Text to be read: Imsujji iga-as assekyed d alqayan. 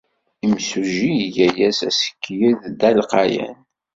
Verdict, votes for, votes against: accepted, 2, 0